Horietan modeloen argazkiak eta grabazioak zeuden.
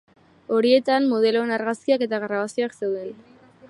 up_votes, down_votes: 2, 0